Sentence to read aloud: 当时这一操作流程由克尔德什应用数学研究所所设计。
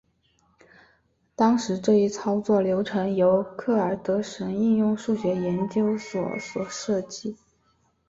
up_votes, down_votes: 5, 1